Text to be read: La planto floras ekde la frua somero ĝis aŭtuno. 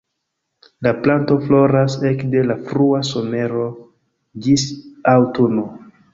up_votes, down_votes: 1, 2